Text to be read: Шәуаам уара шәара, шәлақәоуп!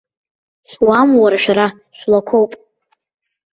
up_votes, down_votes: 2, 0